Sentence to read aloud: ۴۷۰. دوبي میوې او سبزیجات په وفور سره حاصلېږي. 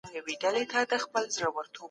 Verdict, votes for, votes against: rejected, 0, 2